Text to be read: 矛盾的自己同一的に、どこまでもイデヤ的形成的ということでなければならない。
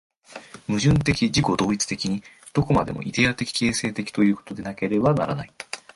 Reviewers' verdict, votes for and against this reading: rejected, 1, 2